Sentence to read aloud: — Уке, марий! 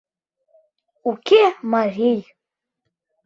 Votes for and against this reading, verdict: 2, 0, accepted